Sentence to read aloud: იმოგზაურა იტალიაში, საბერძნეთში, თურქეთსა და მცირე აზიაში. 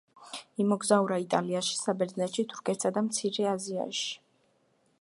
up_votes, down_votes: 2, 1